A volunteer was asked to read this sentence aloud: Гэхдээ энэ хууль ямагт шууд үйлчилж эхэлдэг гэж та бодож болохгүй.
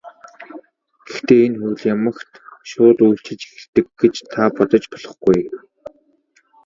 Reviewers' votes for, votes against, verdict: 1, 2, rejected